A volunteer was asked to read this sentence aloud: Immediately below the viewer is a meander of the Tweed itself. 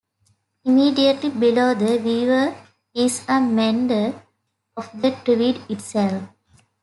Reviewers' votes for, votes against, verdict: 2, 1, accepted